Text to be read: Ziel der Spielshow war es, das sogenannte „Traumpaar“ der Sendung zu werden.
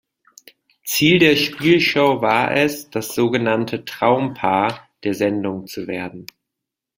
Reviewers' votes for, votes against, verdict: 2, 0, accepted